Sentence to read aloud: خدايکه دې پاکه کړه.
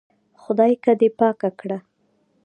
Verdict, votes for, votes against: accepted, 2, 1